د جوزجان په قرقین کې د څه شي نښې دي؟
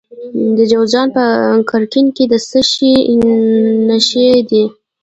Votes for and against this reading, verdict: 0, 2, rejected